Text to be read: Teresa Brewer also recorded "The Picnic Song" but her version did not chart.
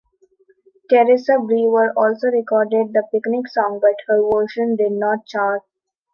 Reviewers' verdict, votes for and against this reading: accepted, 2, 0